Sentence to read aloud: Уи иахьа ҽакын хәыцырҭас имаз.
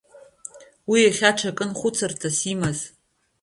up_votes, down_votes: 2, 1